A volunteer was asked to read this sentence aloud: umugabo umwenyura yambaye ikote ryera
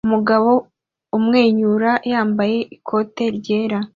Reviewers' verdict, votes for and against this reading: accepted, 2, 0